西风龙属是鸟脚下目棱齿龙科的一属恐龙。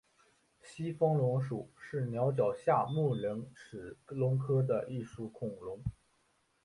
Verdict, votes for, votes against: rejected, 1, 2